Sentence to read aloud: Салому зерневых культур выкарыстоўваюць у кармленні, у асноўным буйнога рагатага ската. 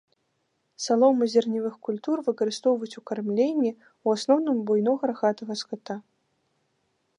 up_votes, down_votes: 2, 0